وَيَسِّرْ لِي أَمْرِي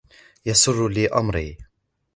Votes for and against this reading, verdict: 2, 1, accepted